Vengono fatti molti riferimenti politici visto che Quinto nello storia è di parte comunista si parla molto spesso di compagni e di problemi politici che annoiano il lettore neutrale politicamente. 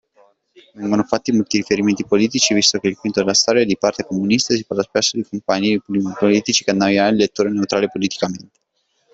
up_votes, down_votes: 0, 2